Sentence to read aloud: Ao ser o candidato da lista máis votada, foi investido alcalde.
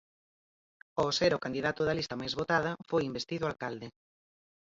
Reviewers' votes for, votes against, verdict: 4, 2, accepted